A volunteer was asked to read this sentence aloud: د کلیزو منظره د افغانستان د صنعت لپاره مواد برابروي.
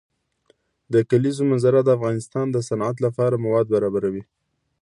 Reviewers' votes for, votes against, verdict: 2, 0, accepted